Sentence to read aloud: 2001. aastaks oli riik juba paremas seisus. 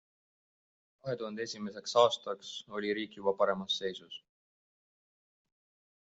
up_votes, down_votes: 0, 2